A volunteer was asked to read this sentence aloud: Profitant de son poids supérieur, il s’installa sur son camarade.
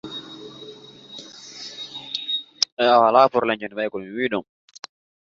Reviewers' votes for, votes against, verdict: 0, 2, rejected